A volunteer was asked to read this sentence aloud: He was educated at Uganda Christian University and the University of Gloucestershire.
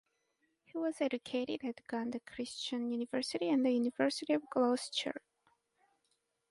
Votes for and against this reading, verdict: 4, 2, accepted